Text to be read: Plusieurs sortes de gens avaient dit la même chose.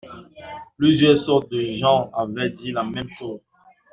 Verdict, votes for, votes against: accepted, 2, 0